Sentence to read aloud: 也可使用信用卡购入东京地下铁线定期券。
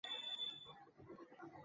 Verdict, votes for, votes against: rejected, 0, 6